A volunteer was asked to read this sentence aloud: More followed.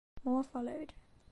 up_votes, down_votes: 2, 1